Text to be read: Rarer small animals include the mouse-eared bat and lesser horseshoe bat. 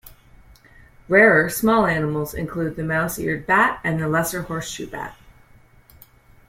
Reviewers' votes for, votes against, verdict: 2, 1, accepted